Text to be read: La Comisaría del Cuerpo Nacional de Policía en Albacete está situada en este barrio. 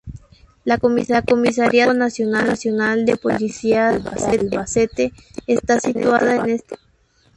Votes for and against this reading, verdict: 0, 2, rejected